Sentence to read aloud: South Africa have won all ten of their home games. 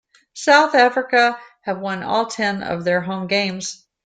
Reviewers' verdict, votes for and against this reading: accepted, 2, 0